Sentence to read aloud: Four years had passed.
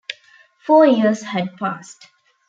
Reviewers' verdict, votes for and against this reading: accepted, 2, 0